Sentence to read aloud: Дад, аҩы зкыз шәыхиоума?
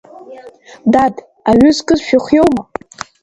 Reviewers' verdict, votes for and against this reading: rejected, 0, 2